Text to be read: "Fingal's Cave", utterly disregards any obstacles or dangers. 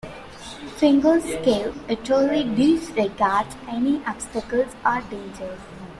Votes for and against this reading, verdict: 1, 2, rejected